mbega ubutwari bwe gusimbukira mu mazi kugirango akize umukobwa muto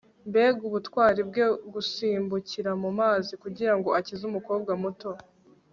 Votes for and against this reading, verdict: 2, 0, accepted